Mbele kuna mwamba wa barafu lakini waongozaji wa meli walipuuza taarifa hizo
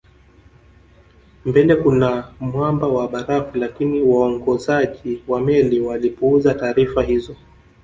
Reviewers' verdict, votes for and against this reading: accepted, 3, 0